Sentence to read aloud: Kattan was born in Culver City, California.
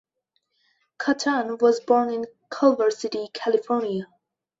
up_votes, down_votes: 2, 0